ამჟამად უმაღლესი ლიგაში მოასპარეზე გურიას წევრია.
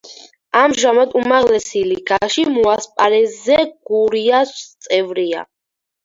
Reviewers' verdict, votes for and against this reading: rejected, 2, 4